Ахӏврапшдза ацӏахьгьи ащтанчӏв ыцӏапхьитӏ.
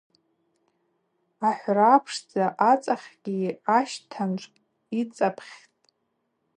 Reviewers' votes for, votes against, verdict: 4, 0, accepted